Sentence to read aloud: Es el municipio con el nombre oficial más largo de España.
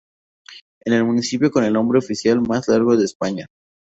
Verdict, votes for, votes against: rejected, 0, 2